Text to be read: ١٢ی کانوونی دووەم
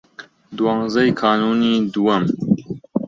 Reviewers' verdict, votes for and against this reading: rejected, 0, 2